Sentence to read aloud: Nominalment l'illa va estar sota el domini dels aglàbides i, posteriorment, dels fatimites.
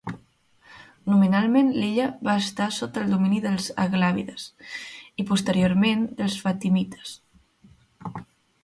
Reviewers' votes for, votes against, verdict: 2, 0, accepted